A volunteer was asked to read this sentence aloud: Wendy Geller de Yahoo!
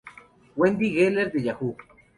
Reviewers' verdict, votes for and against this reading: rejected, 0, 2